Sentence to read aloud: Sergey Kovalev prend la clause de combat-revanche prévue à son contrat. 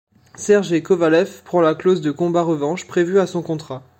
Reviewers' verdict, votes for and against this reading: rejected, 0, 3